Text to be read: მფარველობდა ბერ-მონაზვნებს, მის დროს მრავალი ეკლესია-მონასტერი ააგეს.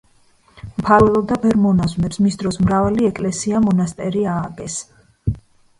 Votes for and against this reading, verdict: 1, 2, rejected